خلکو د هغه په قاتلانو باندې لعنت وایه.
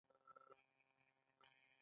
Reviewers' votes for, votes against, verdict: 1, 2, rejected